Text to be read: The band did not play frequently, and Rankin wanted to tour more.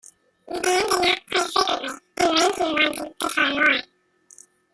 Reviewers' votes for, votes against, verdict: 0, 2, rejected